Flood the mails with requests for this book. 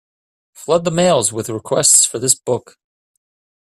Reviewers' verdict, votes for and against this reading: accepted, 2, 0